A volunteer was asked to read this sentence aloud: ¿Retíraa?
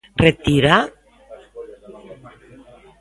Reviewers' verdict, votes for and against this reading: rejected, 0, 2